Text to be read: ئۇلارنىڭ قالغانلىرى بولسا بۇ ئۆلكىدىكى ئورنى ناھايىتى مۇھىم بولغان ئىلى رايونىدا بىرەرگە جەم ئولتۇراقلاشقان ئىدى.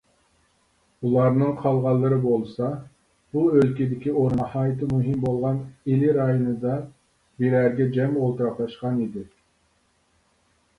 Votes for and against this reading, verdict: 0, 3, rejected